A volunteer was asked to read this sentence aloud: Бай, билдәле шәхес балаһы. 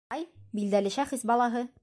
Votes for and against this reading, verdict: 1, 2, rejected